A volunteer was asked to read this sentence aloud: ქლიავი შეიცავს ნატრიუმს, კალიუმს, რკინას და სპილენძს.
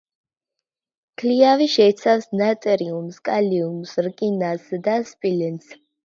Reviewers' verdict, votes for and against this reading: accepted, 2, 0